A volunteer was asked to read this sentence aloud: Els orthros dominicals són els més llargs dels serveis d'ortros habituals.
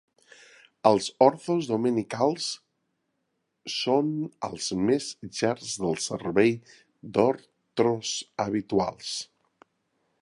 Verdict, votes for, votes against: rejected, 2, 3